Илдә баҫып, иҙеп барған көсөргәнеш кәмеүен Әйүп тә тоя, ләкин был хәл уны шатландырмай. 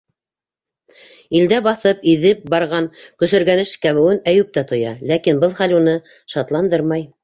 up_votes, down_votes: 2, 0